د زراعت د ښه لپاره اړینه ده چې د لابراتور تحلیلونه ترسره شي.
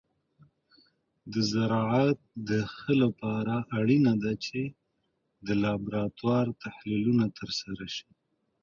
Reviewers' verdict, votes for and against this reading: rejected, 1, 3